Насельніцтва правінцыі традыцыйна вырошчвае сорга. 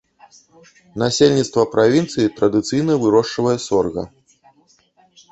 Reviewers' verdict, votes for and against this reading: rejected, 1, 2